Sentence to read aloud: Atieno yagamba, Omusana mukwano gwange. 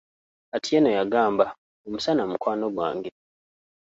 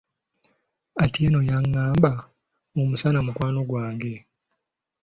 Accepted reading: first